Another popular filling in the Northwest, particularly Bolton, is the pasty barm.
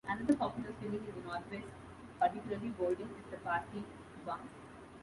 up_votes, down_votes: 2, 1